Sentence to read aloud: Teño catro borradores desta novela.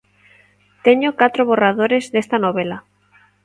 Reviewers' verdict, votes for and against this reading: accepted, 2, 0